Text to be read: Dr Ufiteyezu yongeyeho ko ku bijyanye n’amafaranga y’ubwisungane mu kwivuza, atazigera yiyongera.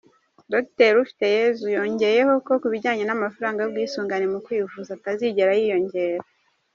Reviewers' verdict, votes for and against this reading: rejected, 1, 2